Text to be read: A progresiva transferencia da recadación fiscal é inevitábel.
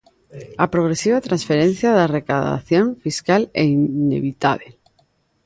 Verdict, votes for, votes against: rejected, 1, 2